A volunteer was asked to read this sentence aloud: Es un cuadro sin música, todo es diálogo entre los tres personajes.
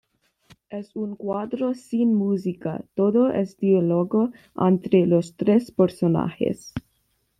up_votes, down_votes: 1, 2